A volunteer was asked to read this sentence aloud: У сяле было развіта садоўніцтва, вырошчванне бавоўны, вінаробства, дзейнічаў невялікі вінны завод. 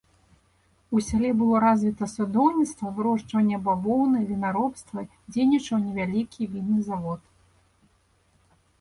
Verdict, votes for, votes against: accepted, 2, 0